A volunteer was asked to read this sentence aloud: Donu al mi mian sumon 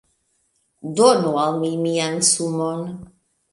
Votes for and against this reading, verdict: 2, 0, accepted